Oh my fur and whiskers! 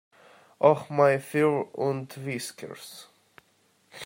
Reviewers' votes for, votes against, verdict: 0, 2, rejected